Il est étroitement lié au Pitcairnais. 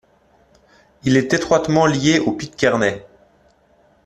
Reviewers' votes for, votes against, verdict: 2, 0, accepted